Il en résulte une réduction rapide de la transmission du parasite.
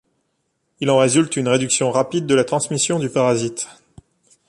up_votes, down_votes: 2, 0